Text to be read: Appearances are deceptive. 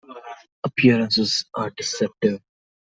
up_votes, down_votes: 2, 0